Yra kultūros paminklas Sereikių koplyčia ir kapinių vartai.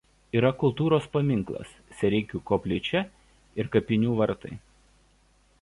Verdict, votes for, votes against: accepted, 2, 0